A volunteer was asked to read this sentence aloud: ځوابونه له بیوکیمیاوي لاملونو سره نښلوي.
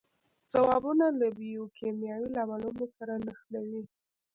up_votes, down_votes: 0, 2